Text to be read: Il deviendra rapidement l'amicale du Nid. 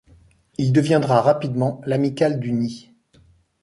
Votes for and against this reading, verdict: 2, 0, accepted